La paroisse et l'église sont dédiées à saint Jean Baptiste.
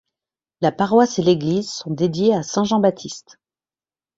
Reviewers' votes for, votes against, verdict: 2, 0, accepted